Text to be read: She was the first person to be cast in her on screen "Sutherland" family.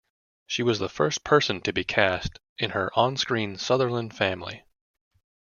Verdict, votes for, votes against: accepted, 2, 0